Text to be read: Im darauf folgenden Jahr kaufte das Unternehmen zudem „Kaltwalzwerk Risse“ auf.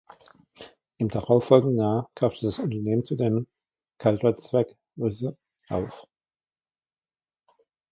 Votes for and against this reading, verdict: 1, 2, rejected